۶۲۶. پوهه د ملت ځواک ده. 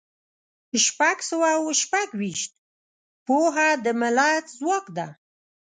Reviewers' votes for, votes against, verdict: 0, 2, rejected